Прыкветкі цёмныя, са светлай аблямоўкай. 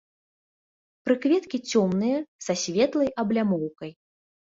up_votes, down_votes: 2, 0